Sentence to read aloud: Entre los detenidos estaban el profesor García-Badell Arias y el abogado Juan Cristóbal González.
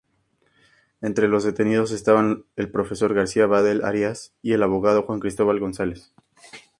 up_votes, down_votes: 2, 0